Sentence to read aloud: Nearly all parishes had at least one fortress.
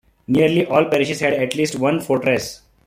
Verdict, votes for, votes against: accepted, 2, 0